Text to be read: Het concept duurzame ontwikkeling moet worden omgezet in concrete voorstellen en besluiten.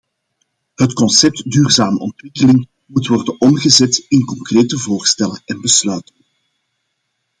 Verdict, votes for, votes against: rejected, 0, 2